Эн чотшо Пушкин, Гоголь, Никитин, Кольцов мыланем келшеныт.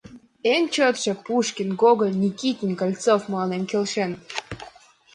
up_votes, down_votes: 2, 0